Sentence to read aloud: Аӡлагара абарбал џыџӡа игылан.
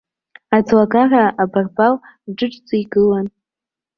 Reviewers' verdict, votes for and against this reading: accepted, 2, 0